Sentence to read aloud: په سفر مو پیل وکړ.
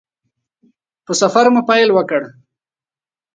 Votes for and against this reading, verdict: 2, 0, accepted